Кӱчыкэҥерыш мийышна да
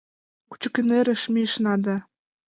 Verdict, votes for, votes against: rejected, 0, 2